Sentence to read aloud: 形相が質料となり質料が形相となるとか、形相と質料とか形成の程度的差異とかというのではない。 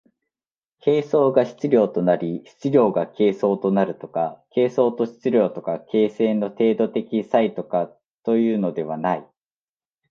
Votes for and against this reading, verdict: 2, 1, accepted